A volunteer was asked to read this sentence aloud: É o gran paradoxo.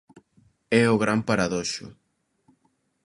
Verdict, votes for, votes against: rejected, 1, 2